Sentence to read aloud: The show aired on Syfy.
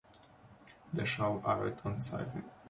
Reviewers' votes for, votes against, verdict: 2, 0, accepted